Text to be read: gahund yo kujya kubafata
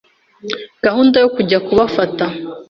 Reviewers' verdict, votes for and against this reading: accepted, 3, 0